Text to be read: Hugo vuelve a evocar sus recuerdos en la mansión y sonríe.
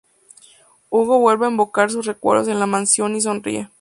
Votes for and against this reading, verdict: 0, 2, rejected